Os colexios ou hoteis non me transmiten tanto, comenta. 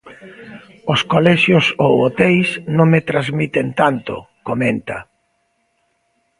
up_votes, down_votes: 3, 0